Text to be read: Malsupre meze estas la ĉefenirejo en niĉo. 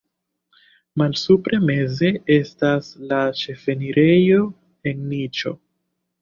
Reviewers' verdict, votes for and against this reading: accepted, 2, 0